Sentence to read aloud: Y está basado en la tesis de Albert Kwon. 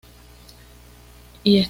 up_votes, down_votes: 1, 2